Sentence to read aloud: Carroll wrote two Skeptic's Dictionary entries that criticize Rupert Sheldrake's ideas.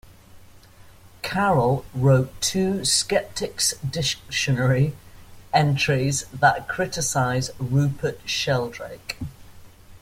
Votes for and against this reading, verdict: 0, 2, rejected